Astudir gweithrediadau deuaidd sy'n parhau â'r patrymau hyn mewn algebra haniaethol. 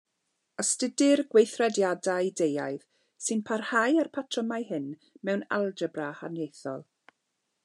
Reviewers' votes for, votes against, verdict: 2, 0, accepted